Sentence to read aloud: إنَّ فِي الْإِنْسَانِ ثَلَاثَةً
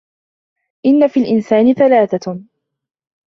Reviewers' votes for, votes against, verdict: 2, 0, accepted